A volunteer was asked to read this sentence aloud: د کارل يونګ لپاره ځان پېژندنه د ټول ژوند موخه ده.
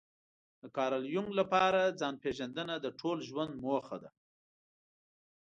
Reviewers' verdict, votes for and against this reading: accepted, 2, 0